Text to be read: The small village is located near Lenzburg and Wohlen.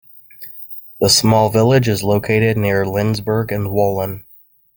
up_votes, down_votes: 3, 0